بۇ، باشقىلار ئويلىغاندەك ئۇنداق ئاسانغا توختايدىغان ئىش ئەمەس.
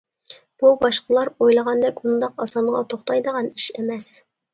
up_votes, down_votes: 2, 0